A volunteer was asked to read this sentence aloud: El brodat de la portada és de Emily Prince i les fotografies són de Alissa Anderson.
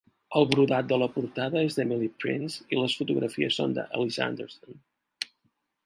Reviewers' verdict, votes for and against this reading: accepted, 2, 0